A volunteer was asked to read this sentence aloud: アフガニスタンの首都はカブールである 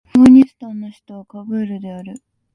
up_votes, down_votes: 0, 2